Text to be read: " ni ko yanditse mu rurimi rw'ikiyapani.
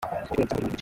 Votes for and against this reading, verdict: 0, 2, rejected